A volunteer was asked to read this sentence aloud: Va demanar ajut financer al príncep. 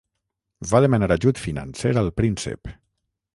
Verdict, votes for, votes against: accepted, 9, 0